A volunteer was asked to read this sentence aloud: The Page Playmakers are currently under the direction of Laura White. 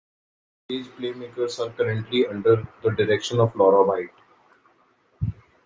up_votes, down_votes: 1, 2